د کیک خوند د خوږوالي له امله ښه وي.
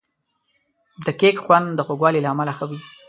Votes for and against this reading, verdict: 2, 0, accepted